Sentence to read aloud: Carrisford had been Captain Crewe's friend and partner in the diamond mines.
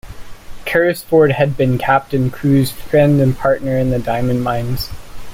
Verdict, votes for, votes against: accepted, 2, 0